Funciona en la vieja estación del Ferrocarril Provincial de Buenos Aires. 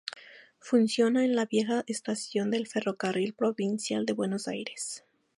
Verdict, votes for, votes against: accepted, 2, 0